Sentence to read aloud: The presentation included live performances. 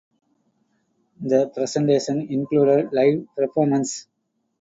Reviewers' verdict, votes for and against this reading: rejected, 0, 2